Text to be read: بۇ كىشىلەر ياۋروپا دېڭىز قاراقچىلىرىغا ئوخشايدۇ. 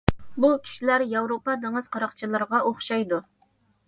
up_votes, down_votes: 2, 0